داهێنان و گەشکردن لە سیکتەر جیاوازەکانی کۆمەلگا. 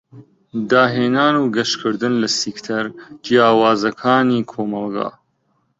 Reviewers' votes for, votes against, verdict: 2, 1, accepted